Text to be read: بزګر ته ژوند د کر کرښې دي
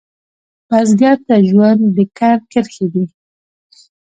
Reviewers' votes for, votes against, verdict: 2, 0, accepted